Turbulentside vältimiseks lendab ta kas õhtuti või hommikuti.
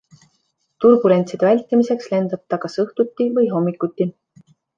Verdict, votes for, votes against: accepted, 2, 0